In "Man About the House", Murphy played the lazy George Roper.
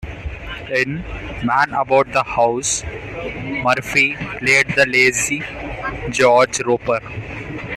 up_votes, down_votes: 2, 0